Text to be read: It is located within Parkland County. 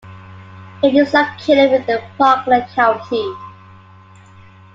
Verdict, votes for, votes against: accepted, 2, 1